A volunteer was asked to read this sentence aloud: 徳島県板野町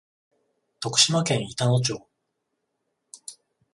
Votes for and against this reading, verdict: 14, 0, accepted